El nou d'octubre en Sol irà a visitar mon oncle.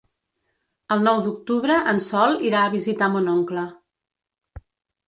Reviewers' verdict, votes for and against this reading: accepted, 2, 0